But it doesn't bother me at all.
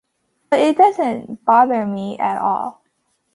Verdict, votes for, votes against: accepted, 2, 0